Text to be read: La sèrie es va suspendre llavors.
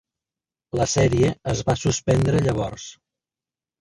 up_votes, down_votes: 3, 1